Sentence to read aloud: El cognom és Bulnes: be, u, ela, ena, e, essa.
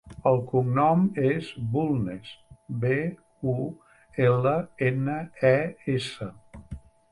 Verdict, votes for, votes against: accepted, 4, 0